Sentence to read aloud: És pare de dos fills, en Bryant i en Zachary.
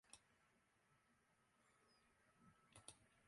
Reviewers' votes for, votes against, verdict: 0, 2, rejected